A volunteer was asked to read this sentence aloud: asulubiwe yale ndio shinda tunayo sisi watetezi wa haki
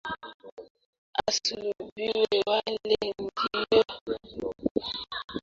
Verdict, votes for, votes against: rejected, 0, 2